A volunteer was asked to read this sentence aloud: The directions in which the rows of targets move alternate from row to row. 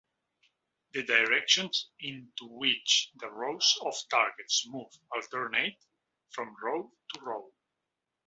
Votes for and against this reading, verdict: 2, 0, accepted